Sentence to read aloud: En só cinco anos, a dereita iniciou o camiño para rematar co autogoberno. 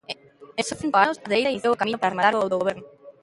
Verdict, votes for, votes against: rejected, 1, 2